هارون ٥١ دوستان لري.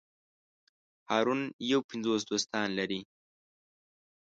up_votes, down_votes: 0, 2